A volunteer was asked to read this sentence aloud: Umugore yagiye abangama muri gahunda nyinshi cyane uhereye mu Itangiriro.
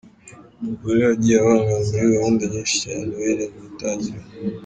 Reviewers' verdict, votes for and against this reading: rejected, 1, 2